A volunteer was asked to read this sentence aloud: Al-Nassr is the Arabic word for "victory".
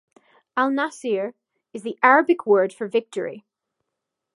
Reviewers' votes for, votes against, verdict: 0, 2, rejected